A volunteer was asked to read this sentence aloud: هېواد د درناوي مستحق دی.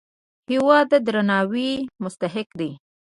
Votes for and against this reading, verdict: 2, 0, accepted